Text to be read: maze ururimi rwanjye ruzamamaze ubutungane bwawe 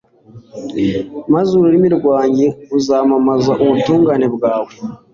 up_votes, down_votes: 2, 0